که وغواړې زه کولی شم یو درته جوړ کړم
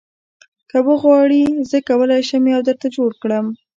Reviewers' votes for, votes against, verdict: 2, 0, accepted